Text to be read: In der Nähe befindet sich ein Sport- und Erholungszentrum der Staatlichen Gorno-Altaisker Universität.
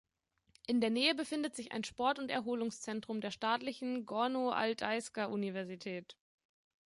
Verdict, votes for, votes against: accepted, 2, 0